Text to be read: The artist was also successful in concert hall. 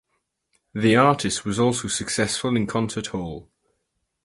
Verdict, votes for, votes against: accepted, 4, 0